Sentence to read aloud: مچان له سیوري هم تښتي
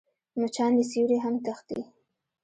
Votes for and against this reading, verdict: 1, 2, rejected